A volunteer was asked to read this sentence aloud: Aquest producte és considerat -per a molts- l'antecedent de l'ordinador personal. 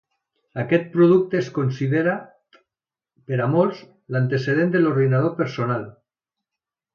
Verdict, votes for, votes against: rejected, 0, 2